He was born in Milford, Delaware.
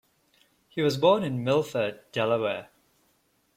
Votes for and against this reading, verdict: 2, 0, accepted